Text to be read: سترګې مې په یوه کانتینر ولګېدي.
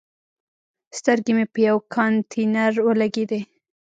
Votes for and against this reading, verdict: 2, 0, accepted